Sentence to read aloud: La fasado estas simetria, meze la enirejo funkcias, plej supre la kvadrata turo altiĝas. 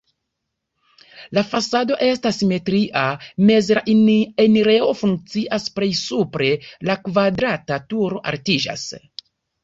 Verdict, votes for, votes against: rejected, 0, 2